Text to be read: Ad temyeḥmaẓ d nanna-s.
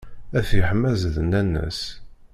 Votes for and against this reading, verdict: 0, 2, rejected